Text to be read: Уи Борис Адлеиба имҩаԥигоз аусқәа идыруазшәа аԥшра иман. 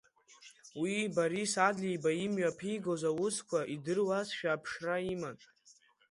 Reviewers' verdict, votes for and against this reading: accepted, 2, 0